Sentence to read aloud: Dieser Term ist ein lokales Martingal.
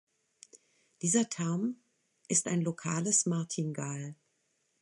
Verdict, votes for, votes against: accepted, 2, 0